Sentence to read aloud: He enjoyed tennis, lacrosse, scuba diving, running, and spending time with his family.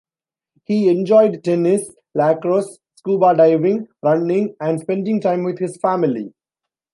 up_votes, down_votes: 2, 0